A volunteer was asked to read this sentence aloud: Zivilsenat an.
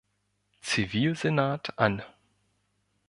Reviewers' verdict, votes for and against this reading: accepted, 2, 0